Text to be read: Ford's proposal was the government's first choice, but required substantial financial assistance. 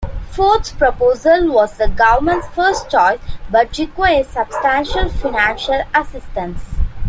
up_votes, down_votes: 1, 2